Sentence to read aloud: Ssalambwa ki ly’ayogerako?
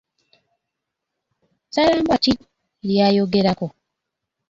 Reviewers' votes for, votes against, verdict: 0, 2, rejected